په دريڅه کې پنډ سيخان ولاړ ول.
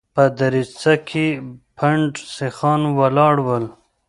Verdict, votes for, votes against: accepted, 2, 0